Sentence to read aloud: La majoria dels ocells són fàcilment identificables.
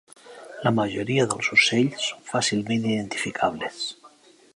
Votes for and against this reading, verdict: 0, 2, rejected